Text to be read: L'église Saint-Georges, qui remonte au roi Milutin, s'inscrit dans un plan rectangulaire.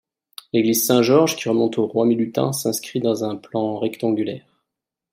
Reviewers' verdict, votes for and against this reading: accepted, 2, 1